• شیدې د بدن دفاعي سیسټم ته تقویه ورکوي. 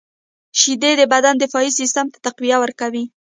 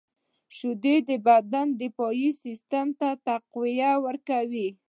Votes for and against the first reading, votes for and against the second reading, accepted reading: 0, 2, 2, 1, second